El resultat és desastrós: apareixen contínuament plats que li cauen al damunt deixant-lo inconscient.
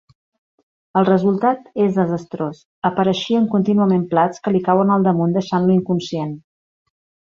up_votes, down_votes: 1, 2